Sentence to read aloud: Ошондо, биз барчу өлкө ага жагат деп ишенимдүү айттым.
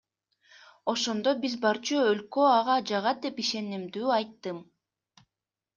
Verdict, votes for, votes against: accepted, 2, 0